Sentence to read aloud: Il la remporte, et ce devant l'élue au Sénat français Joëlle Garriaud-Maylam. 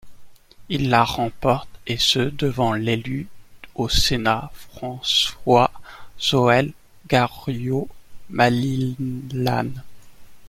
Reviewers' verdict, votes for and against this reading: rejected, 0, 2